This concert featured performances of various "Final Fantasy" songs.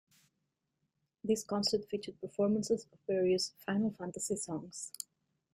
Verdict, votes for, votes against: accepted, 2, 0